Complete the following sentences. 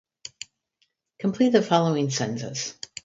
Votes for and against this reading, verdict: 2, 2, rejected